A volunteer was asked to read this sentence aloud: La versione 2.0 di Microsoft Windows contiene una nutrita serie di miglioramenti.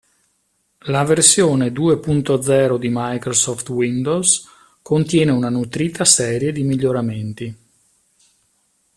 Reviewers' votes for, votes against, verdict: 0, 2, rejected